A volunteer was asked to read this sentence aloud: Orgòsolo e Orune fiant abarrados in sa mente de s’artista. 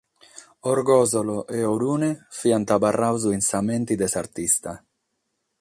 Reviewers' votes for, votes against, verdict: 6, 0, accepted